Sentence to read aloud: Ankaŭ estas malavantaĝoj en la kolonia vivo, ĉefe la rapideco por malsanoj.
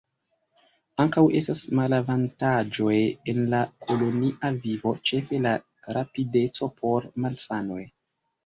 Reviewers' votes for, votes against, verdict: 1, 2, rejected